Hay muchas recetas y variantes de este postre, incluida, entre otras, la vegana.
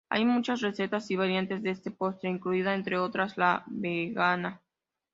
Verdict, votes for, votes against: accepted, 2, 0